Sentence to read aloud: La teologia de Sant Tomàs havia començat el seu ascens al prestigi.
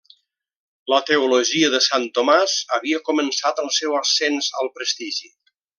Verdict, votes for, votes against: accepted, 3, 0